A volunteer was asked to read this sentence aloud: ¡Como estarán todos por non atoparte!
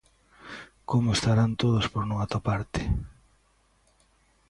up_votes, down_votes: 2, 0